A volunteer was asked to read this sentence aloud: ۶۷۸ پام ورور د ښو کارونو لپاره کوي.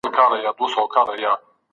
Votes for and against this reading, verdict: 0, 2, rejected